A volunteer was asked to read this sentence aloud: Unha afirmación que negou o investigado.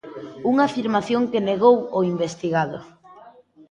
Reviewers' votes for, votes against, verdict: 1, 2, rejected